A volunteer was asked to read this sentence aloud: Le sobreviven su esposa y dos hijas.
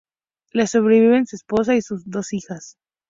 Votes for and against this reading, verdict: 2, 0, accepted